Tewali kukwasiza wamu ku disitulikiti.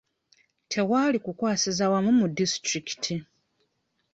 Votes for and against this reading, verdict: 2, 0, accepted